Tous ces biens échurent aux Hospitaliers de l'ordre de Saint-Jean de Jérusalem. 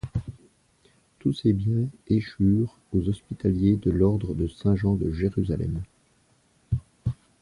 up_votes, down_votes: 1, 2